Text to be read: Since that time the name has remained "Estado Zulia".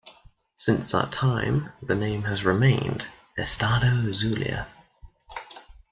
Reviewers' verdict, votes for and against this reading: accepted, 2, 0